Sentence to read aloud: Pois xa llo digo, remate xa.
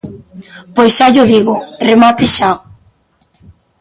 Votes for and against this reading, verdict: 1, 2, rejected